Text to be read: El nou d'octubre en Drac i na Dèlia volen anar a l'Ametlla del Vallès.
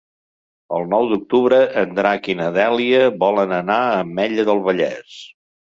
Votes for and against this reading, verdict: 2, 3, rejected